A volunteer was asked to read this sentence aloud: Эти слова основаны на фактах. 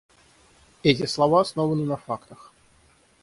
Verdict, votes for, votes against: rejected, 0, 3